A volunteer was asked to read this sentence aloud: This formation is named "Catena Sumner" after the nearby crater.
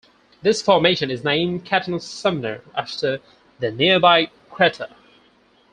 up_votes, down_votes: 2, 4